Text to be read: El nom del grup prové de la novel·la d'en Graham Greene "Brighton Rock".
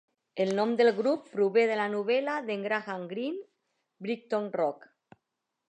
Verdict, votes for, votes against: accepted, 2, 0